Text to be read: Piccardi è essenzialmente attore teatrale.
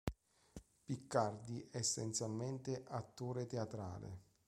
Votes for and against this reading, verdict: 2, 0, accepted